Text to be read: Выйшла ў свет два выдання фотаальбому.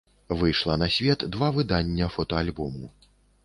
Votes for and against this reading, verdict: 1, 2, rejected